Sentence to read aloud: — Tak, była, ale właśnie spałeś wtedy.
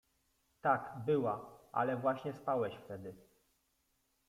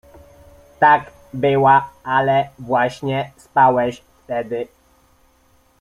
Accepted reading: first